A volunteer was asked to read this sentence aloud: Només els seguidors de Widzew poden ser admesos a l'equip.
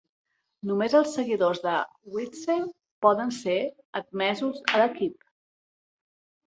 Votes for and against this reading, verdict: 2, 0, accepted